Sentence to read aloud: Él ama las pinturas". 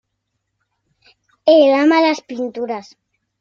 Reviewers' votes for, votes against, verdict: 2, 0, accepted